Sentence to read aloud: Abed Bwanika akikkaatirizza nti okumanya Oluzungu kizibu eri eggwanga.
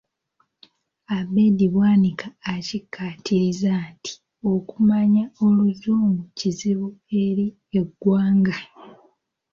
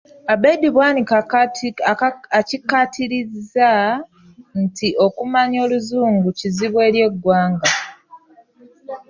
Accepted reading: first